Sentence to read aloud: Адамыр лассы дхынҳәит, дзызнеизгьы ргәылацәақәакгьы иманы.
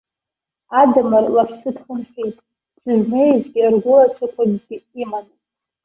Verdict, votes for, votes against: rejected, 0, 2